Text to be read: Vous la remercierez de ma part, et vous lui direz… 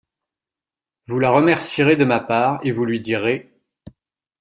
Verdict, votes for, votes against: accepted, 2, 0